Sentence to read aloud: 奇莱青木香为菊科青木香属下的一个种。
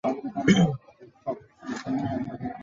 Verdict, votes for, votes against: rejected, 0, 3